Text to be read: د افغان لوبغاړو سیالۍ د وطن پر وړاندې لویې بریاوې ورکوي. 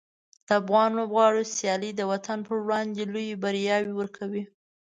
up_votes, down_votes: 2, 1